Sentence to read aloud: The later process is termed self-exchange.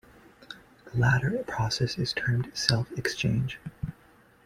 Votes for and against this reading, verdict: 1, 2, rejected